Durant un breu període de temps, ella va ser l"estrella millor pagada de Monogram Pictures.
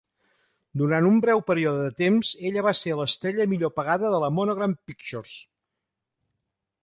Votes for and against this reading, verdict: 1, 2, rejected